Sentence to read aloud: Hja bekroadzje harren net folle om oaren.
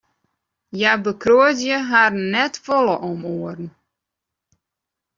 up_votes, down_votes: 2, 0